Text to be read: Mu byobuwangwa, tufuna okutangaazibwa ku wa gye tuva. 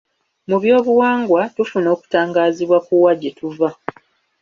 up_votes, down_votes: 2, 0